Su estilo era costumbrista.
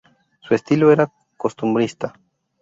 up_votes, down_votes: 2, 0